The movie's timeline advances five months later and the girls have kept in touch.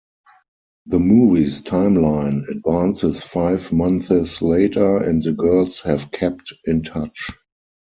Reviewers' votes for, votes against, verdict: 0, 4, rejected